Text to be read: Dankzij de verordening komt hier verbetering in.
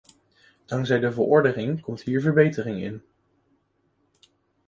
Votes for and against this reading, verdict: 1, 2, rejected